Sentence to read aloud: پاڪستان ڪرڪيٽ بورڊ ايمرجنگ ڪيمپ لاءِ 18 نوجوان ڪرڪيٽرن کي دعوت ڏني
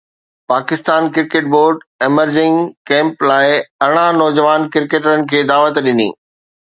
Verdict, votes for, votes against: rejected, 0, 2